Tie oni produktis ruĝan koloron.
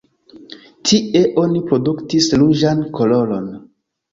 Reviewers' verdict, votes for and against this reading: rejected, 1, 2